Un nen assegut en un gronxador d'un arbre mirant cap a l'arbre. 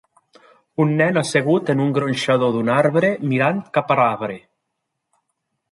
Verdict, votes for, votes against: accepted, 4, 0